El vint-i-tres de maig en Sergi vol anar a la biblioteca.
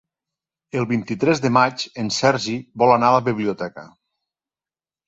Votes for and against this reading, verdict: 3, 0, accepted